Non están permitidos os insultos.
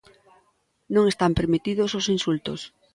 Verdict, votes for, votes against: rejected, 1, 2